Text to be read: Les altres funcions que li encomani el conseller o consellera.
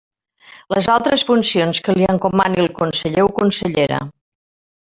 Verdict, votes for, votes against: accepted, 2, 1